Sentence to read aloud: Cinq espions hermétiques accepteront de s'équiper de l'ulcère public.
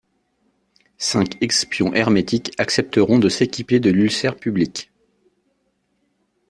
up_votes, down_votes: 1, 2